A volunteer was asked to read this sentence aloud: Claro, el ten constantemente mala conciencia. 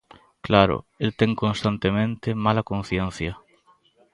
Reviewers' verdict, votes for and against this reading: accepted, 2, 1